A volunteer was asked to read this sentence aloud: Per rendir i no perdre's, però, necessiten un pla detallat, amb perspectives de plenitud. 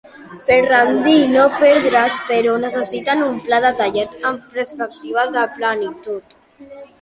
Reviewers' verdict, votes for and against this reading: accepted, 2, 1